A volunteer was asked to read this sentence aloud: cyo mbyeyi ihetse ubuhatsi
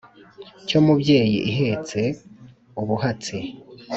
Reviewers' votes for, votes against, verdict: 3, 0, accepted